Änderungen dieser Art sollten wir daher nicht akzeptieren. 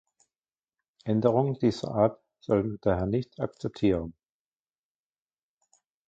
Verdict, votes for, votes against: rejected, 1, 2